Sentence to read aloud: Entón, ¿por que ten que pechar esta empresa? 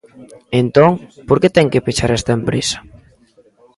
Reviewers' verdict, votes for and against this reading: accepted, 2, 0